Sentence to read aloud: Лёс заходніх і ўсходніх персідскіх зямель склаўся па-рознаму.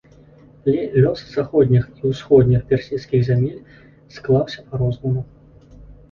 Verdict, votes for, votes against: rejected, 1, 2